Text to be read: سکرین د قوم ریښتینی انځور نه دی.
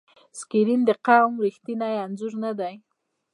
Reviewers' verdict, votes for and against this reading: rejected, 0, 2